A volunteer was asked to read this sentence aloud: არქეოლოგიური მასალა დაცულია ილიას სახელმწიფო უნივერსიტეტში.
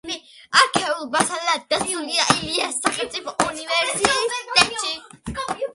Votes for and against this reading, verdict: 0, 2, rejected